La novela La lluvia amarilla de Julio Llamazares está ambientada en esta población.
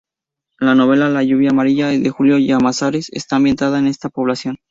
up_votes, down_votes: 2, 0